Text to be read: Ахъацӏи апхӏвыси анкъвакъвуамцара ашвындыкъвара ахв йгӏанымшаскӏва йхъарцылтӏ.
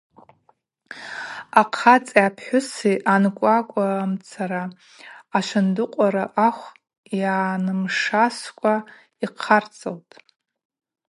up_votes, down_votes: 2, 0